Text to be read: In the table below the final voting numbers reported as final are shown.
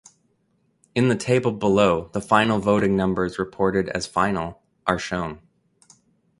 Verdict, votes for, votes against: accepted, 2, 0